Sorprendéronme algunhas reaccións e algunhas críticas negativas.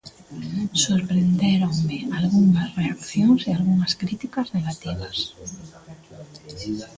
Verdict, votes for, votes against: rejected, 0, 2